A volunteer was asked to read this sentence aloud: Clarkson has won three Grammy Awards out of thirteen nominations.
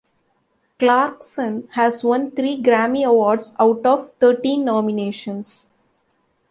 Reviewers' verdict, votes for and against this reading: accepted, 2, 0